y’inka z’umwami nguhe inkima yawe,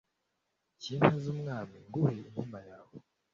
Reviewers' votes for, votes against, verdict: 2, 0, accepted